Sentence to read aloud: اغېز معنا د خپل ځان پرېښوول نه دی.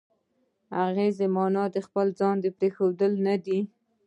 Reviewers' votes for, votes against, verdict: 0, 2, rejected